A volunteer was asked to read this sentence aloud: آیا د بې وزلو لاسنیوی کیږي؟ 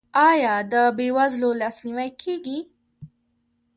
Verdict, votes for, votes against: rejected, 1, 2